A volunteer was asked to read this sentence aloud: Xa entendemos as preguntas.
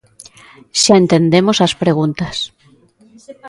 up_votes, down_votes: 2, 0